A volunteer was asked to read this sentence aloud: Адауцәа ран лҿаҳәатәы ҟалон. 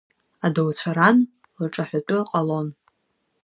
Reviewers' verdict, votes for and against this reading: accepted, 2, 0